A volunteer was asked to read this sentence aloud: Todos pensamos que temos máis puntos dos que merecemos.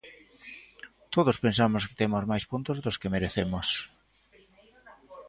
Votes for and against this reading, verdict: 2, 0, accepted